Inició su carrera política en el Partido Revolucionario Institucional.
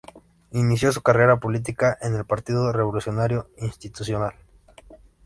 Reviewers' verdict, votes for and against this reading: accepted, 4, 0